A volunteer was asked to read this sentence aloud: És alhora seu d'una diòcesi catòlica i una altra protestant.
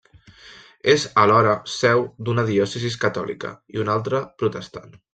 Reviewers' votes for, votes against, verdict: 1, 2, rejected